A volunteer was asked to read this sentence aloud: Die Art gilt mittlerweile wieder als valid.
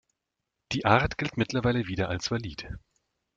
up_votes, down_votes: 0, 2